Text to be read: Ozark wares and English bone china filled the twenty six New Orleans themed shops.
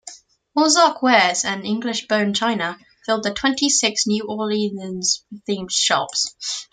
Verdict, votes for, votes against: accepted, 2, 0